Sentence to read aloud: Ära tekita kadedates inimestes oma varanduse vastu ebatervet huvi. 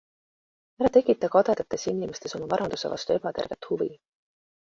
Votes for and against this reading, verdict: 2, 0, accepted